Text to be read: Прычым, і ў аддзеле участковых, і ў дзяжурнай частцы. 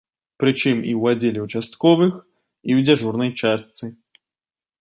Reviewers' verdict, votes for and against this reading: accepted, 2, 0